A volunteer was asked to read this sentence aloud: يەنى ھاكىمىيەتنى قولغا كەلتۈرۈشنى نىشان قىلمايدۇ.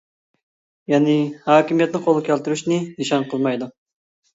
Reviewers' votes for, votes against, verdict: 2, 0, accepted